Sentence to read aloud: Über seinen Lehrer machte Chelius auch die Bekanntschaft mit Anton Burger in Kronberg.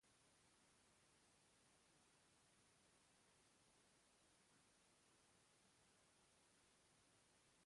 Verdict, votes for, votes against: rejected, 0, 2